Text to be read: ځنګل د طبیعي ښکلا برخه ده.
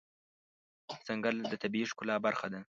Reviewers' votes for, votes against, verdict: 2, 0, accepted